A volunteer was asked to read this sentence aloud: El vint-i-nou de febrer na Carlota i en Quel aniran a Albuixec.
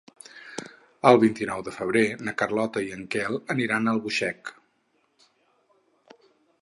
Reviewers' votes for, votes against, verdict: 4, 0, accepted